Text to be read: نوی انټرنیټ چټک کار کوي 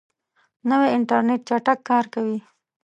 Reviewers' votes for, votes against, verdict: 2, 0, accepted